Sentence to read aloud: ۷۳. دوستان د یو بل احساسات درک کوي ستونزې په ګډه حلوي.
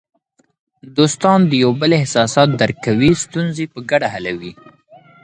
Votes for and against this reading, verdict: 0, 2, rejected